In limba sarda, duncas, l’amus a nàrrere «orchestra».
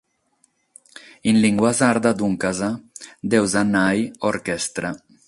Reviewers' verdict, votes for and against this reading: rejected, 3, 6